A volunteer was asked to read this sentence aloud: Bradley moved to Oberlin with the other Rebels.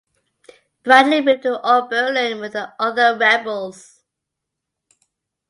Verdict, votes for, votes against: accepted, 2, 0